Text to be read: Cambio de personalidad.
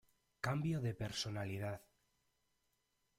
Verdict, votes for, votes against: rejected, 0, 2